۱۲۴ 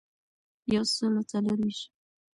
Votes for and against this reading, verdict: 0, 2, rejected